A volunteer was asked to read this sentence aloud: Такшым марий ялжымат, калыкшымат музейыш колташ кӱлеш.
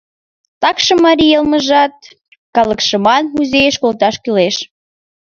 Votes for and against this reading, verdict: 0, 4, rejected